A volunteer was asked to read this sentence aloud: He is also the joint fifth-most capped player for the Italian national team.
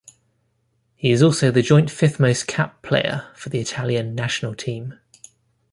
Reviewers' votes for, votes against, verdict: 2, 0, accepted